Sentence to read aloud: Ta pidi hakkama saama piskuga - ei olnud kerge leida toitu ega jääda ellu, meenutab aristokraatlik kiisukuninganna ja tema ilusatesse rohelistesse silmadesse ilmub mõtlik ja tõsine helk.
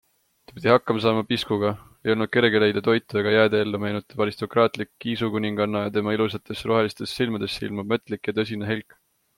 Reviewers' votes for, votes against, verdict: 2, 0, accepted